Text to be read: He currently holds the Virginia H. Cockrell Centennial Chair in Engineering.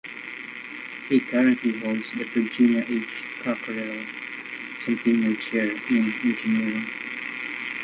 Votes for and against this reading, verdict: 0, 2, rejected